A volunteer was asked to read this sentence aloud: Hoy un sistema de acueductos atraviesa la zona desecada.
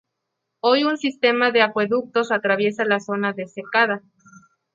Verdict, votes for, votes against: accepted, 2, 0